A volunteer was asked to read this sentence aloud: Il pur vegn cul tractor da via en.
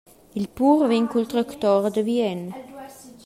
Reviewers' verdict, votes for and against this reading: rejected, 1, 2